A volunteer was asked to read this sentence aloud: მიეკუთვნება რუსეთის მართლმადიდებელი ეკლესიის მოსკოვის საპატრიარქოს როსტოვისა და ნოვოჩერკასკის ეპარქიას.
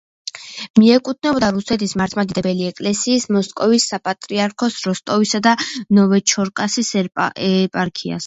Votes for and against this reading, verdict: 0, 2, rejected